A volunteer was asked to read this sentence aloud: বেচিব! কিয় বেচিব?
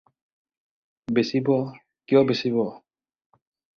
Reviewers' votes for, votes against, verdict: 4, 0, accepted